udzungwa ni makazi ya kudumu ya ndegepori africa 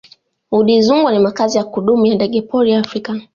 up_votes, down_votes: 1, 2